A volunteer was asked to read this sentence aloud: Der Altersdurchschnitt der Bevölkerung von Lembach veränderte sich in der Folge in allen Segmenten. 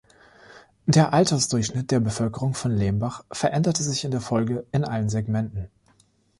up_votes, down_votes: 3, 0